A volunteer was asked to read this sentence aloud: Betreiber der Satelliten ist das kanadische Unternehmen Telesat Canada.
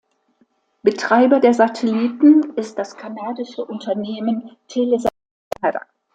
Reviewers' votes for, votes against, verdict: 1, 2, rejected